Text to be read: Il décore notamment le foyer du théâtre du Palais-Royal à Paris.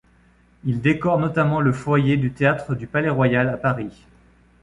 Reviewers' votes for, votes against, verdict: 2, 1, accepted